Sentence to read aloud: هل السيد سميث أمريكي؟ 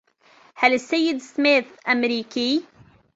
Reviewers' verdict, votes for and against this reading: accepted, 2, 0